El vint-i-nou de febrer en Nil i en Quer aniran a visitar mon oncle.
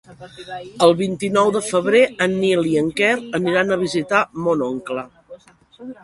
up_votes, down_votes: 0, 2